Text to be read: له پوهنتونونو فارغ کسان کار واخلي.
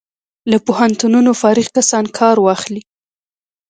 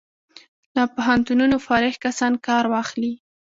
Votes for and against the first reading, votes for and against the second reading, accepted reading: 2, 0, 1, 2, first